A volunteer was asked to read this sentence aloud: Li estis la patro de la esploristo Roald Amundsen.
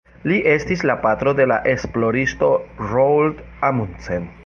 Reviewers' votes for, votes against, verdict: 1, 2, rejected